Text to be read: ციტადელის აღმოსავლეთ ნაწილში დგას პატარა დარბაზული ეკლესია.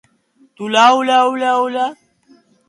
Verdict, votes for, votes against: rejected, 0, 2